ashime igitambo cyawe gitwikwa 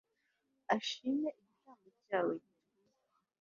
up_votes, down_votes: 1, 2